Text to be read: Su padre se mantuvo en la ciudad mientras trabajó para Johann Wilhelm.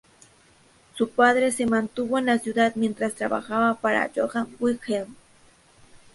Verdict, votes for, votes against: rejected, 0, 2